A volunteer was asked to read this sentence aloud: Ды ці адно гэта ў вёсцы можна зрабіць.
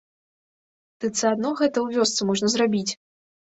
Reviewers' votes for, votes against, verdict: 1, 3, rejected